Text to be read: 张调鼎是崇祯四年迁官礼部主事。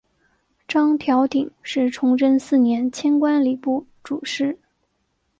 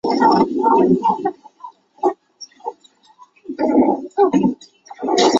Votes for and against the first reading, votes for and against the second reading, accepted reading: 2, 0, 3, 8, first